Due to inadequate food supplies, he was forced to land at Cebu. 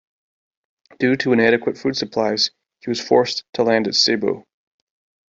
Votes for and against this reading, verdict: 3, 0, accepted